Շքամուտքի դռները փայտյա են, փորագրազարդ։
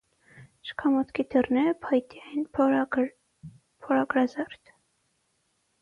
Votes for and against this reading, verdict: 0, 6, rejected